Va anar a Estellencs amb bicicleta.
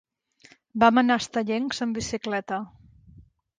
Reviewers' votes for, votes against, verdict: 0, 2, rejected